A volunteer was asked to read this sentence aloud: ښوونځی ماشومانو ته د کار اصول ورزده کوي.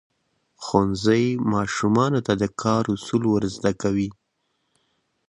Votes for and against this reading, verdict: 2, 0, accepted